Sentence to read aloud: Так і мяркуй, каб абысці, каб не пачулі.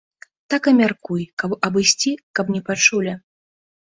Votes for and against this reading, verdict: 2, 0, accepted